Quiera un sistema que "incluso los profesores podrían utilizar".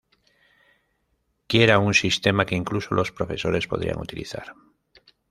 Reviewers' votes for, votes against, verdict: 2, 0, accepted